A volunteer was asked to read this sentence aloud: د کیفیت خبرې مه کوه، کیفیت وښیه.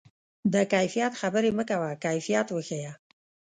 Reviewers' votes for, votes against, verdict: 2, 0, accepted